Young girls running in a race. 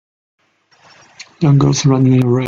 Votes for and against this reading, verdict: 1, 2, rejected